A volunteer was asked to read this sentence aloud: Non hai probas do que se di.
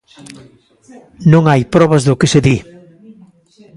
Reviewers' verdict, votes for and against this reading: accepted, 2, 1